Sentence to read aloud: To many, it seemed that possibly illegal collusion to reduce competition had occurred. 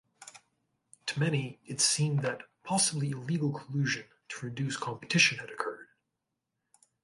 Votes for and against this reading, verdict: 3, 0, accepted